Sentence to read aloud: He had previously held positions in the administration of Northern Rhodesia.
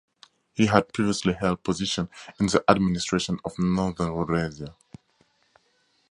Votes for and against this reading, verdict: 0, 2, rejected